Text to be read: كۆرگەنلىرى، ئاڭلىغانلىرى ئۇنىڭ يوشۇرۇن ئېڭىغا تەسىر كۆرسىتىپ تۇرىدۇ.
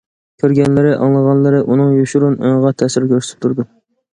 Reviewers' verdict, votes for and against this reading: accepted, 3, 0